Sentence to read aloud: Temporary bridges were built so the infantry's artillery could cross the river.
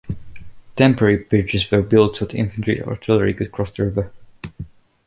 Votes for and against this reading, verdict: 1, 2, rejected